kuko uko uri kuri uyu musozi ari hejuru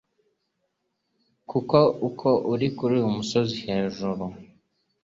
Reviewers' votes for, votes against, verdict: 1, 2, rejected